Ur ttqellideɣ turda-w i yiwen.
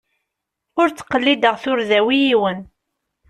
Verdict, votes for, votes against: accepted, 2, 0